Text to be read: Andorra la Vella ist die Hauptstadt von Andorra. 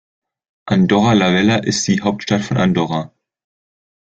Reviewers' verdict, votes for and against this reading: accepted, 2, 0